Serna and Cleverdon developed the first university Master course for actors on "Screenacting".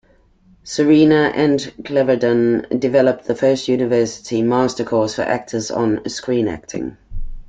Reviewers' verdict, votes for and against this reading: rejected, 1, 2